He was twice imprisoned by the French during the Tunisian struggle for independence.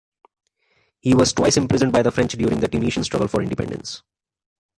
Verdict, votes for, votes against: accepted, 2, 0